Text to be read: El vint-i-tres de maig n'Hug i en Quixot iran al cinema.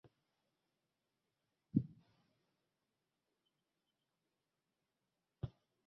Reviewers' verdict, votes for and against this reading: rejected, 1, 2